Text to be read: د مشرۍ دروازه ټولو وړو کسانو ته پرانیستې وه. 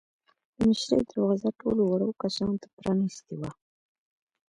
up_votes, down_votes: 2, 1